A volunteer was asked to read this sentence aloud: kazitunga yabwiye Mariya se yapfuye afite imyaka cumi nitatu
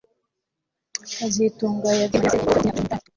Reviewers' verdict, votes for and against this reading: accepted, 2, 1